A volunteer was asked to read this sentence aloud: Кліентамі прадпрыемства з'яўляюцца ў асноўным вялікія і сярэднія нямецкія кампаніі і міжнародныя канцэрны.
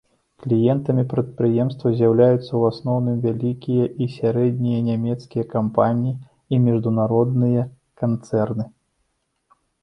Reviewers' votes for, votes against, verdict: 1, 2, rejected